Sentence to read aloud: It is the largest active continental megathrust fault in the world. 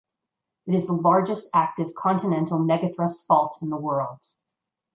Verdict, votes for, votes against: accepted, 2, 0